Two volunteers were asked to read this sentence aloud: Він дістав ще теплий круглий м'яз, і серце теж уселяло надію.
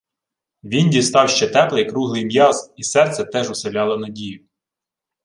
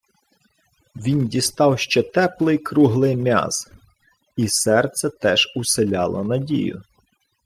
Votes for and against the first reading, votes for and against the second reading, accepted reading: 2, 0, 0, 2, first